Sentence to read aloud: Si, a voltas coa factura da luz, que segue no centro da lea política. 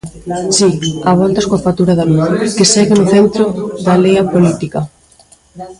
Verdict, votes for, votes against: rejected, 0, 2